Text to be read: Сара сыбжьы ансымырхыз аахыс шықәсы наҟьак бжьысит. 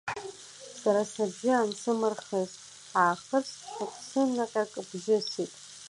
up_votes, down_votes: 0, 2